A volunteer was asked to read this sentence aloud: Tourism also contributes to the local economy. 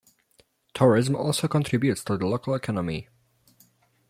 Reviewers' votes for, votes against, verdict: 2, 1, accepted